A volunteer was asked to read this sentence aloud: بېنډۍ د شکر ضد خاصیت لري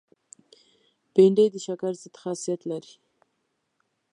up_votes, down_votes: 3, 0